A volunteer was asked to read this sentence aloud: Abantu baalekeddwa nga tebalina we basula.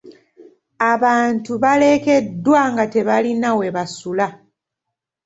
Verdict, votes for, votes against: rejected, 1, 2